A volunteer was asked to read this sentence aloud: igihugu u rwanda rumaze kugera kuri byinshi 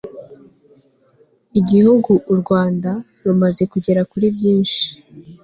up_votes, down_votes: 2, 0